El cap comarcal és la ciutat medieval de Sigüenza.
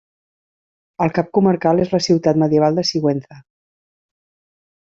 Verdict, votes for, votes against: accepted, 3, 0